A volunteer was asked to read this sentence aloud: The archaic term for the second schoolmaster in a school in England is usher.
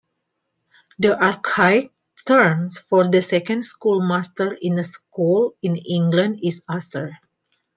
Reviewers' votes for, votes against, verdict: 1, 2, rejected